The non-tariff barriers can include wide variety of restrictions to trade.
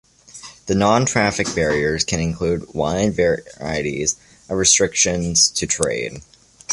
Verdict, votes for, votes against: rejected, 1, 2